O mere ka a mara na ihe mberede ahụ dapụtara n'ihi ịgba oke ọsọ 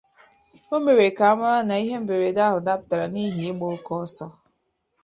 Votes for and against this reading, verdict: 2, 0, accepted